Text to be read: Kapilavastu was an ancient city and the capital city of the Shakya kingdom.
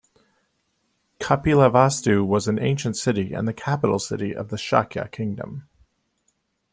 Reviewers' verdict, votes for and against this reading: accepted, 2, 0